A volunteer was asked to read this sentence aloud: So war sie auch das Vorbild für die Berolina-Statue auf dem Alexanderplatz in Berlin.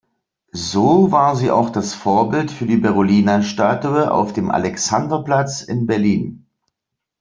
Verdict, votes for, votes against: accepted, 2, 0